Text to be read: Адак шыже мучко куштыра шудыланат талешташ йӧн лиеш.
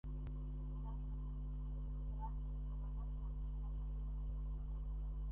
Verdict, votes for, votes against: rejected, 0, 2